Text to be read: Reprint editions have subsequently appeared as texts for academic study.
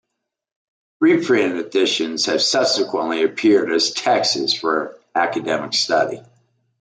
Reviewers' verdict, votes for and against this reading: accepted, 2, 1